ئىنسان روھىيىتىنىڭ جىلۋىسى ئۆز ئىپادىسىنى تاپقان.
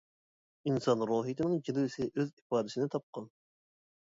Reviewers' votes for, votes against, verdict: 2, 0, accepted